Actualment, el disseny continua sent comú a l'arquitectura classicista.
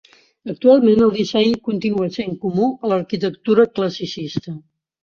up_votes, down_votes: 2, 0